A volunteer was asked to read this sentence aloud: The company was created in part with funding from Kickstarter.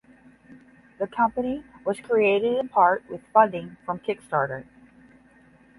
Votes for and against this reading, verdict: 10, 0, accepted